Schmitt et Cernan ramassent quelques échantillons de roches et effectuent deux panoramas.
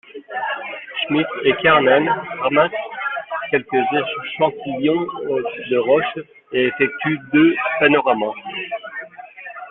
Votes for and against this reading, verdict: 1, 2, rejected